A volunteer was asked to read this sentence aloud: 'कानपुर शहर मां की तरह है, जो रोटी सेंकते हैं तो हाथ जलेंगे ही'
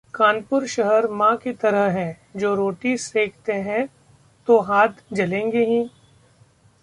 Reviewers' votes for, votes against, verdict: 2, 0, accepted